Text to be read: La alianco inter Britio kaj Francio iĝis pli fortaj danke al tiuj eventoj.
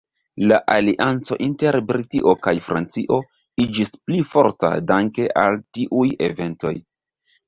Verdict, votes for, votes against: rejected, 0, 2